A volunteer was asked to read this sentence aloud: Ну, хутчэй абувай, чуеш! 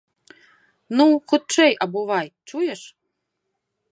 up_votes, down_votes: 2, 0